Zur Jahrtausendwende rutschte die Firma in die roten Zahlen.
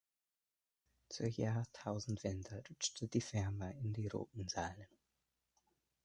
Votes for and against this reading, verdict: 2, 1, accepted